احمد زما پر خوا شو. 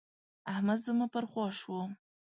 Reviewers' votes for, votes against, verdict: 2, 0, accepted